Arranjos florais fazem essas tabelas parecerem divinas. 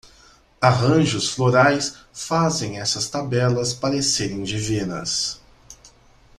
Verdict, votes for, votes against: accepted, 2, 0